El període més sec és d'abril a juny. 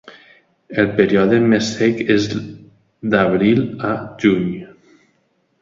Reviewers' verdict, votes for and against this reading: rejected, 0, 2